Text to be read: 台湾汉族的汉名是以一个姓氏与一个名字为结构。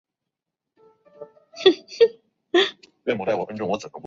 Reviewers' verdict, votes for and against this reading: rejected, 0, 3